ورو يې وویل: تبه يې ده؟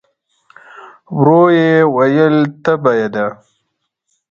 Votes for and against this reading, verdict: 2, 1, accepted